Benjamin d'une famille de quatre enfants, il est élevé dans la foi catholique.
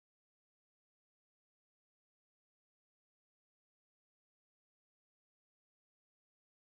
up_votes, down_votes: 1, 2